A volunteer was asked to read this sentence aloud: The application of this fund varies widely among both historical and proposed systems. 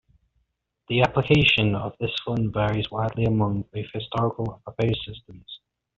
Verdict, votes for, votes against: rejected, 0, 2